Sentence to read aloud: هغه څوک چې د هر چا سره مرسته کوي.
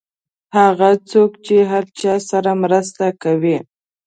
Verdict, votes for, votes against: accepted, 2, 0